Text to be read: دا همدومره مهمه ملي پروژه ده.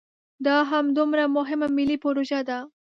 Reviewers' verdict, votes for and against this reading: accepted, 2, 0